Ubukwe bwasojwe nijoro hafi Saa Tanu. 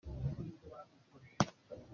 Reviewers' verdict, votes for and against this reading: rejected, 0, 2